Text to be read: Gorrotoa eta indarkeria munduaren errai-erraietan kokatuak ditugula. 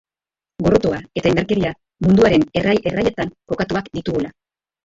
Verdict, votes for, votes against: rejected, 0, 2